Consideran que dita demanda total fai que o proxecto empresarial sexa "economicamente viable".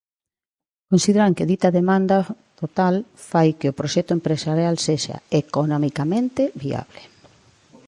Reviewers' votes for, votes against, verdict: 2, 1, accepted